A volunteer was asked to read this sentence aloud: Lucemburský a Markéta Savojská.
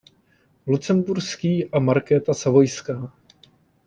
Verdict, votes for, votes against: accepted, 2, 0